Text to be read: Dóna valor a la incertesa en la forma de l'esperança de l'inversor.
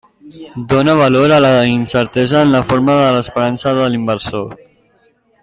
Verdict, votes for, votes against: accepted, 3, 0